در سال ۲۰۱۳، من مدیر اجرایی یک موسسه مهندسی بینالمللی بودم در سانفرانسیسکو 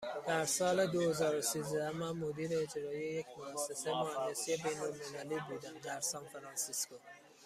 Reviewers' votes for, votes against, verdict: 0, 2, rejected